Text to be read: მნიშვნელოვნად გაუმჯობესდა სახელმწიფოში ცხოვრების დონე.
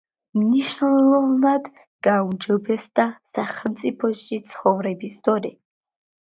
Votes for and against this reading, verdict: 1, 2, rejected